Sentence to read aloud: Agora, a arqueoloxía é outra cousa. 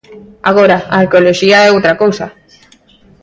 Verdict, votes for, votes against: accepted, 2, 1